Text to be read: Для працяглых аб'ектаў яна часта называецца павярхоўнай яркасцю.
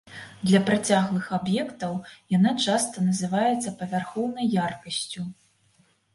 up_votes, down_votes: 2, 0